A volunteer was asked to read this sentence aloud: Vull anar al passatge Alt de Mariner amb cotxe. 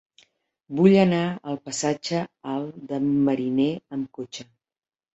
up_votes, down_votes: 0, 2